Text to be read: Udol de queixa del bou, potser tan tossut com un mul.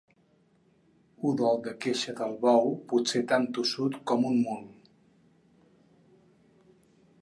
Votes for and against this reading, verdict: 4, 2, accepted